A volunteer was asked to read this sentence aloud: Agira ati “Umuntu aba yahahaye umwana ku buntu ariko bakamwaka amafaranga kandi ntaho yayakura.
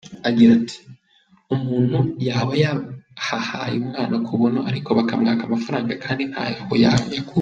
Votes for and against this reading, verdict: 0, 2, rejected